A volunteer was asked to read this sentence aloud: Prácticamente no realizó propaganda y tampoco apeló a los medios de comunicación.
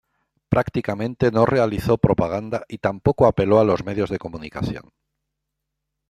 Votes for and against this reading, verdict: 2, 0, accepted